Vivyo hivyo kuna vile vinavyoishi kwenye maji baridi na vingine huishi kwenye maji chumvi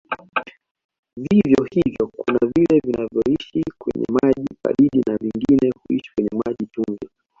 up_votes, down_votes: 2, 1